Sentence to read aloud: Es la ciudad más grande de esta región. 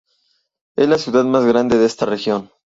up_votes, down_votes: 2, 0